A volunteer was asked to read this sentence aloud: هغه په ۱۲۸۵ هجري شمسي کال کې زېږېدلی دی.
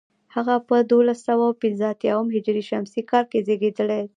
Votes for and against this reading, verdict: 0, 2, rejected